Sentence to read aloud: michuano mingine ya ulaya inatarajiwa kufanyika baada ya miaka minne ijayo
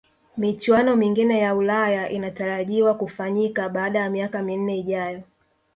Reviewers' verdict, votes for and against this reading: accepted, 2, 0